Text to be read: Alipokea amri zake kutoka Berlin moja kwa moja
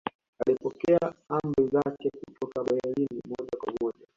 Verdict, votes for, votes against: rejected, 0, 2